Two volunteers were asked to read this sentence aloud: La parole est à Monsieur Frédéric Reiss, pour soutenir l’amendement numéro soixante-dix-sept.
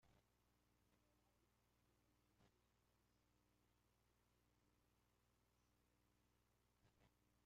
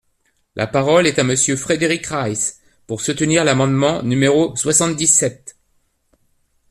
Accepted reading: second